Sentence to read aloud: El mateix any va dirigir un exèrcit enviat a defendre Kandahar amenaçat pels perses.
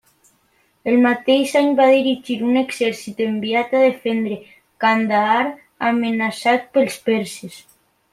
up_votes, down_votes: 2, 0